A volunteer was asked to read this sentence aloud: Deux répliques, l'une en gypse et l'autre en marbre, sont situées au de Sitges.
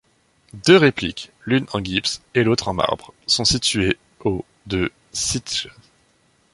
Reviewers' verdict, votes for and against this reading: rejected, 1, 2